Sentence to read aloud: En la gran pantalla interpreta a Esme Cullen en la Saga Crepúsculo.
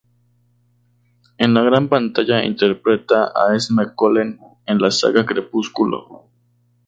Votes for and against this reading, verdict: 2, 0, accepted